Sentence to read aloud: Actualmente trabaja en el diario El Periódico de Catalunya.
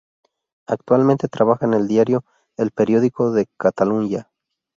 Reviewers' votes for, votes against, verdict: 0, 2, rejected